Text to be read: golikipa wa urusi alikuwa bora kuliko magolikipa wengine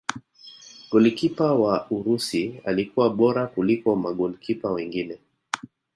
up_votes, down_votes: 0, 2